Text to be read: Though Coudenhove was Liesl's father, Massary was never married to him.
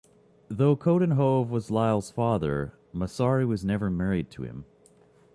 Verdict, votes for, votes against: accepted, 3, 0